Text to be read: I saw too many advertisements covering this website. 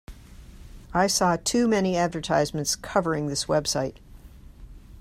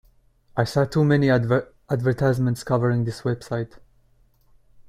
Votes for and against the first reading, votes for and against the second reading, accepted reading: 2, 0, 0, 2, first